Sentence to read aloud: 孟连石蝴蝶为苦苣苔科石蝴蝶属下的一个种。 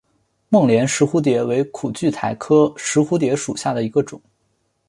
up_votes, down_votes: 3, 0